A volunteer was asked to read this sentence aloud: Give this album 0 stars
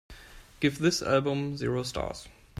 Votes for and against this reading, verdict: 0, 2, rejected